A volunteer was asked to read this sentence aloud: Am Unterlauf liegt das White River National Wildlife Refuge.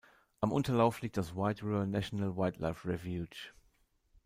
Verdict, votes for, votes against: rejected, 0, 2